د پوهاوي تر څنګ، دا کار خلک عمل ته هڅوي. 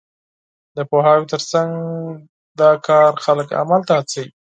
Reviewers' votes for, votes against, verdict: 4, 0, accepted